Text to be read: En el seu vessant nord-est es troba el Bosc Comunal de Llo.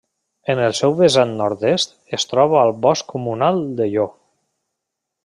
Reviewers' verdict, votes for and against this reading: rejected, 1, 2